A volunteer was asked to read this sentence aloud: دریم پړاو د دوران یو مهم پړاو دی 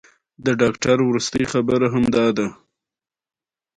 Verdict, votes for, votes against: rejected, 1, 2